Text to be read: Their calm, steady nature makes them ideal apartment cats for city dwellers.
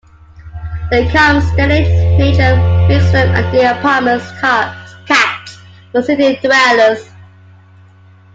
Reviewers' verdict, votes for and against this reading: accepted, 2, 1